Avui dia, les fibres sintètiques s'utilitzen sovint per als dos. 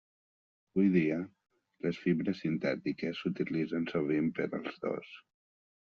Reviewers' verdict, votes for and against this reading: rejected, 1, 2